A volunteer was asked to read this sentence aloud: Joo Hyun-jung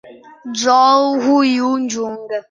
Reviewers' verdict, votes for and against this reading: rejected, 0, 2